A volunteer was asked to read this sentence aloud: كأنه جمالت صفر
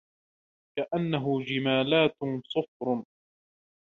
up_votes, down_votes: 0, 2